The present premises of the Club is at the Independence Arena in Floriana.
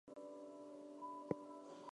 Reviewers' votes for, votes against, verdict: 0, 4, rejected